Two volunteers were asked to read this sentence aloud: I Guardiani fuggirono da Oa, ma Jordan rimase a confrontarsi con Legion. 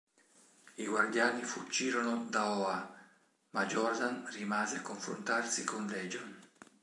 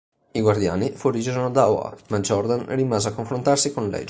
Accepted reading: first